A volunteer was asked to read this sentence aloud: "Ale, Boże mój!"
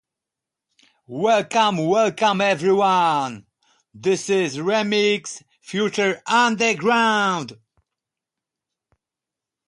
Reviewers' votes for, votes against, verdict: 0, 2, rejected